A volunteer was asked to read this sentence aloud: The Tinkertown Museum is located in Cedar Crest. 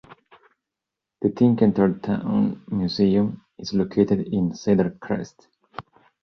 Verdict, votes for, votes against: rejected, 0, 2